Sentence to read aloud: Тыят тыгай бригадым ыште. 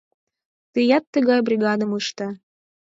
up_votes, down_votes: 4, 0